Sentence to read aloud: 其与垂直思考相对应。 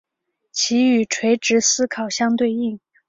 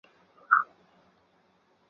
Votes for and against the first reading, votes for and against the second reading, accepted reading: 2, 0, 0, 3, first